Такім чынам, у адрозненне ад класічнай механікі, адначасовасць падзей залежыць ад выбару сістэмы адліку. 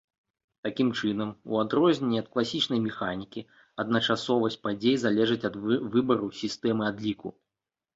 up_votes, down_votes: 0, 2